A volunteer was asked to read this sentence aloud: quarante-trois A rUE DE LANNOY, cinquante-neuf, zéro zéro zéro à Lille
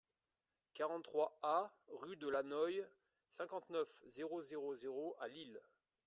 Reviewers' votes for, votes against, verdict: 2, 1, accepted